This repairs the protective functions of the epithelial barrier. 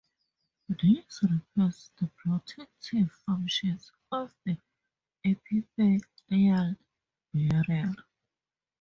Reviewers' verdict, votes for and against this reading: rejected, 2, 2